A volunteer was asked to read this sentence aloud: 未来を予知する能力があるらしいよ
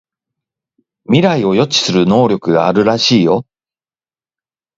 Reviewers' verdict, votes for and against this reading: accepted, 2, 0